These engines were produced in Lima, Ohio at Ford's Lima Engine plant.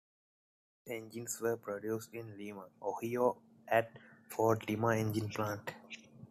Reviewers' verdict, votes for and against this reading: rejected, 1, 2